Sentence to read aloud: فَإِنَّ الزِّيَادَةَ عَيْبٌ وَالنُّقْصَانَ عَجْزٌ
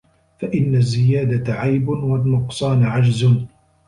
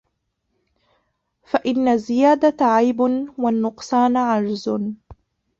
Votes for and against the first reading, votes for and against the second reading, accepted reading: 2, 0, 0, 2, first